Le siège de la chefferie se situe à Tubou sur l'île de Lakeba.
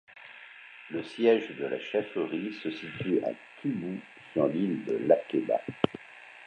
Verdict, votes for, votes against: accepted, 2, 0